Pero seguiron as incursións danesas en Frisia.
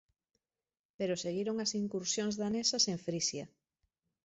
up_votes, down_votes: 2, 0